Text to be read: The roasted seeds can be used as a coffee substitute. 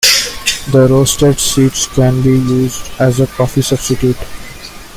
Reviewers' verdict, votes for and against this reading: accepted, 2, 0